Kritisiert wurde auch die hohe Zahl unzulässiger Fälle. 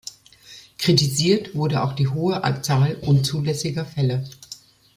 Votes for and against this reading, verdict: 1, 2, rejected